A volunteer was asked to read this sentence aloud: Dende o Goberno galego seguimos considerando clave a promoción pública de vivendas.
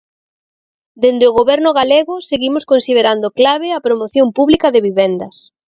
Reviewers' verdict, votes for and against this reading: accepted, 2, 0